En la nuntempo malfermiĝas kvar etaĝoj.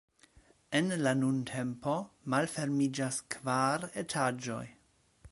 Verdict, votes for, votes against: accepted, 2, 0